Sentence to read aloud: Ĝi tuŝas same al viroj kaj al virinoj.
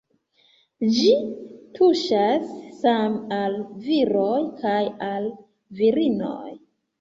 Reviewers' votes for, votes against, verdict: 1, 2, rejected